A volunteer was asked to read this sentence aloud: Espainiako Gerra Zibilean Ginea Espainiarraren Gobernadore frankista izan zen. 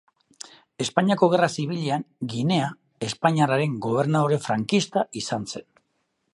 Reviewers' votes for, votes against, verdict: 3, 0, accepted